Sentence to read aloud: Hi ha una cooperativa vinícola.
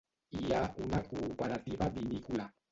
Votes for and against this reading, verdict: 0, 2, rejected